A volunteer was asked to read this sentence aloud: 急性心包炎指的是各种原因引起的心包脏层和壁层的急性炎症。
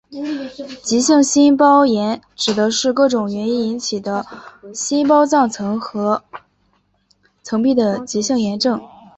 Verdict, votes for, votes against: accepted, 3, 0